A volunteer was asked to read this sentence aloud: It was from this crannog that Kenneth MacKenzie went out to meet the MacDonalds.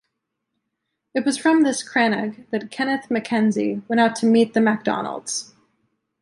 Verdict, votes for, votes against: accepted, 2, 0